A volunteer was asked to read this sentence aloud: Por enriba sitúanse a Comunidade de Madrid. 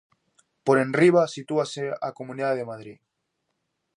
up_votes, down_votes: 0, 2